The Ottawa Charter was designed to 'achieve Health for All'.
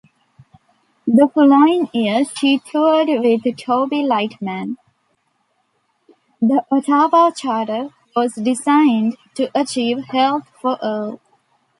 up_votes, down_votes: 0, 2